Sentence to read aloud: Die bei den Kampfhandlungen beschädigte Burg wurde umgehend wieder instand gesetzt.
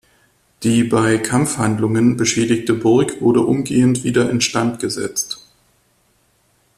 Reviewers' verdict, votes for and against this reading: rejected, 0, 2